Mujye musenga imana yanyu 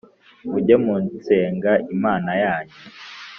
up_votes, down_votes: 2, 3